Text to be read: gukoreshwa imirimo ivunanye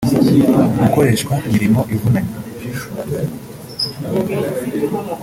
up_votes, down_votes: 1, 2